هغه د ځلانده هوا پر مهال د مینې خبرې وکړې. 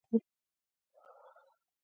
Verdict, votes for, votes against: rejected, 1, 2